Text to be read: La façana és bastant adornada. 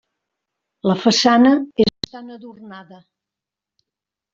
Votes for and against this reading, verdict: 2, 1, accepted